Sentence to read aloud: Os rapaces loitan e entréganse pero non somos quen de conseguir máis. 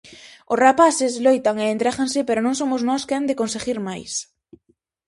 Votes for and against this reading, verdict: 2, 2, rejected